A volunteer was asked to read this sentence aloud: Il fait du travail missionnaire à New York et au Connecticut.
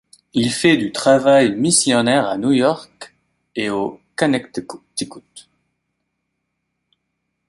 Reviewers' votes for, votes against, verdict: 0, 2, rejected